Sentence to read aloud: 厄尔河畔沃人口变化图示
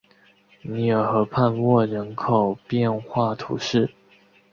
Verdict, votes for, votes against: accepted, 2, 1